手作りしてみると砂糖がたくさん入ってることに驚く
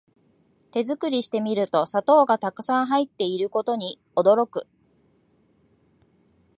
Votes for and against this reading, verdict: 2, 0, accepted